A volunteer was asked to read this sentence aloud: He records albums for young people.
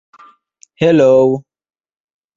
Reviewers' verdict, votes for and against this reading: rejected, 0, 2